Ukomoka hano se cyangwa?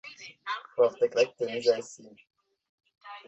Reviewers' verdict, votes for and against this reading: rejected, 0, 2